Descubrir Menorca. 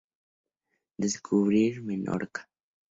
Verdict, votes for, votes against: accepted, 2, 0